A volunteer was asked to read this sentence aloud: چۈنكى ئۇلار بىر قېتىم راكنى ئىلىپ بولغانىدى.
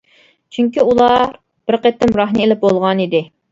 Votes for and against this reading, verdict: 1, 2, rejected